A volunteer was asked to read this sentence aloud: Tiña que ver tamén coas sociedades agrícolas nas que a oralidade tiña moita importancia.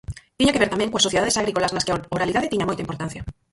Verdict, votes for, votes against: rejected, 0, 4